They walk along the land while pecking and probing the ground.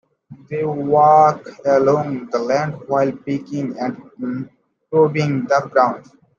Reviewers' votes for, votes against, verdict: 0, 2, rejected